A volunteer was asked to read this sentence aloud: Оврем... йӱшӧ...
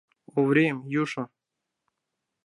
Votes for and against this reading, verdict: 0, 2, rejected